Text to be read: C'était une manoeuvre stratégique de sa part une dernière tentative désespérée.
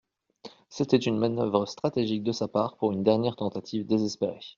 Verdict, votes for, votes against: rejected, 0, 2